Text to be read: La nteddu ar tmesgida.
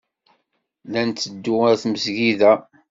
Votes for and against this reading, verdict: 2, 1, accepted